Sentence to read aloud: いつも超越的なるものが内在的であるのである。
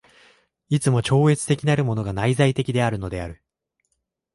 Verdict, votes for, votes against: accepted, 3, 0